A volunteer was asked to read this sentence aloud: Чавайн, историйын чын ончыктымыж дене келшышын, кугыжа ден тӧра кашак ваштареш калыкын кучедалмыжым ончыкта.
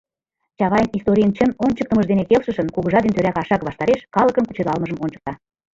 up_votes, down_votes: 0, 2